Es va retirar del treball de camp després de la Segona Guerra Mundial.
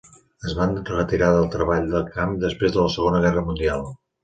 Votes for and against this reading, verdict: 0, 2, rejected